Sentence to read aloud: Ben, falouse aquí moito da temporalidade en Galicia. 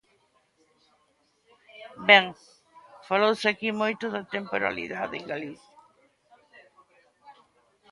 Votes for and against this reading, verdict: 2, 0, accepted